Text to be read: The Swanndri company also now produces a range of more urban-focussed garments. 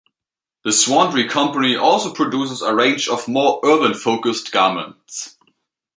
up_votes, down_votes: 1, 2